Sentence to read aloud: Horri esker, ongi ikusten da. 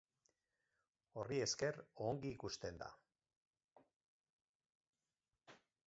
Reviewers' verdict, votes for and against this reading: accepted, 4, 2